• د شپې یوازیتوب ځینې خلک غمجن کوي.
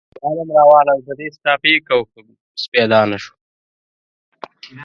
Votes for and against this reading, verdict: 1, 2, rejected